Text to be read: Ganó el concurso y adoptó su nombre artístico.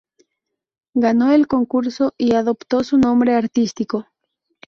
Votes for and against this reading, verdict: 0, 2, rejected